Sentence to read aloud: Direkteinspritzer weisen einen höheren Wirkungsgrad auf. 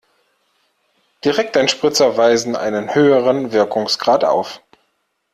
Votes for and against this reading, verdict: 2, 0, accepted